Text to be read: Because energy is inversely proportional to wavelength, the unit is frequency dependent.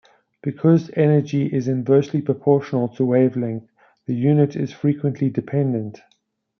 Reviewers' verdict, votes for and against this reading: rejected, 1, 2